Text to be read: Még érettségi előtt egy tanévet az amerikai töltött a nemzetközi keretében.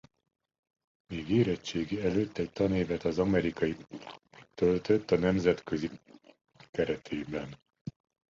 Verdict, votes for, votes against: rejected, 1, 2